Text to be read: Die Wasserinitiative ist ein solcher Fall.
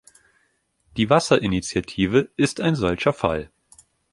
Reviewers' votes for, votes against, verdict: 2, 0, accepted